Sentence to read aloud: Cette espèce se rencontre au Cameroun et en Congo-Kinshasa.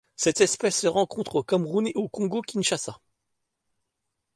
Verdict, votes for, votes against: accepted, 2, 1